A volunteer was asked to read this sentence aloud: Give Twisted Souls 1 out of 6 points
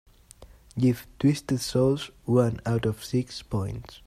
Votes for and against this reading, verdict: 0, 2, rejected